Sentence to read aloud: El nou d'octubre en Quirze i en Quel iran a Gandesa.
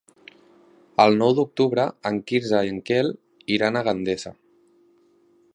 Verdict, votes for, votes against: accepted, 3, 0